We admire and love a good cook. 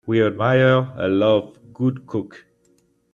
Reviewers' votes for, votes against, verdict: 0, 2, rejected